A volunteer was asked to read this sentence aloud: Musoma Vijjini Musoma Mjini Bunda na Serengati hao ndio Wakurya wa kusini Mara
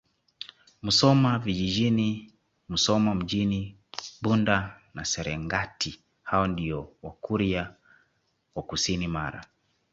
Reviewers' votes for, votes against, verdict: 2, 0, accepted